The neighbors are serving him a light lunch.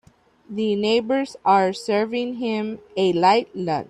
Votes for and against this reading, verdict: 1, 2, rejected